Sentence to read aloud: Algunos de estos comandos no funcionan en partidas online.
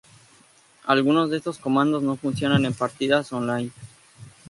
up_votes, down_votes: 2, 0